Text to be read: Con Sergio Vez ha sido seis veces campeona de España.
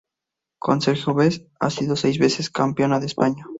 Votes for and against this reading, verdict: 2, 0, accepted